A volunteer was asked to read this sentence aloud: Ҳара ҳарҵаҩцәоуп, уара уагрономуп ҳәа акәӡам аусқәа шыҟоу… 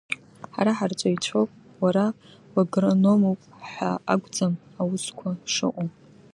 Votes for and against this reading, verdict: 1, 2, rejected